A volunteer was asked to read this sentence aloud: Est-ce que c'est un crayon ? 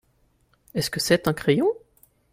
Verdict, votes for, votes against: accepted, 2, 0